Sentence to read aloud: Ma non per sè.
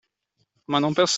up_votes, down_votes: 0, 2